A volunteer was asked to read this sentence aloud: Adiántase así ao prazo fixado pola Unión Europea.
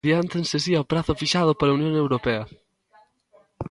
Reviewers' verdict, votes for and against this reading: rejected, 1, 2